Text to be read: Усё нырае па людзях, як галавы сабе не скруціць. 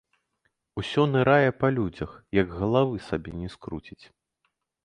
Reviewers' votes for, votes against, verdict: 2, 0, accepted